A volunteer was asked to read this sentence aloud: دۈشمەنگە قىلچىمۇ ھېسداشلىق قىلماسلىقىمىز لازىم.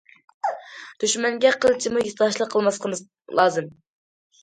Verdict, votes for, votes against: accepted, 2, 1